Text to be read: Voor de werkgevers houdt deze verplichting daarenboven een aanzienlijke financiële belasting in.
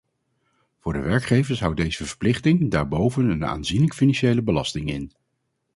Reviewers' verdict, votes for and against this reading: rejected, 0, 2